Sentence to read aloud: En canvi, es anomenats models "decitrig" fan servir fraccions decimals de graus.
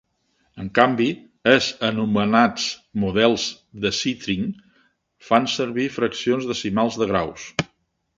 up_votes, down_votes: 1, 2